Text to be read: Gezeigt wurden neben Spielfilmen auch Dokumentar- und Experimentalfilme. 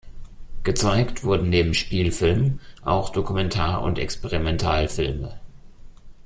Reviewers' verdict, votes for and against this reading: accepted, 2, 0